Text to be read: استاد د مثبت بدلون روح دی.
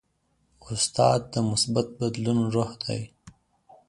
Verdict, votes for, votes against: accepted, 2, 0